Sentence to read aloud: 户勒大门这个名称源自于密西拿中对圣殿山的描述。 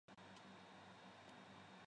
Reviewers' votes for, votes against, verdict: 0, 2, rejected